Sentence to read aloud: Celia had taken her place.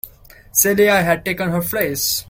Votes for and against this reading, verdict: 2, 0, accepted